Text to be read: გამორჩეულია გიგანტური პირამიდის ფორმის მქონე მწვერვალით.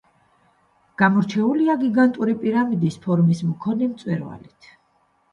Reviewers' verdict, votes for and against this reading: rejected, 1, 2